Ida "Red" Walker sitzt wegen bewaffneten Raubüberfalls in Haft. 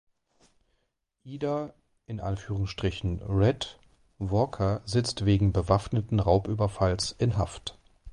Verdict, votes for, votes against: rejected, 1, 2